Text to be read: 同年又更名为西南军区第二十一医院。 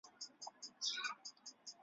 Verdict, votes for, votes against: rejected, 0, 3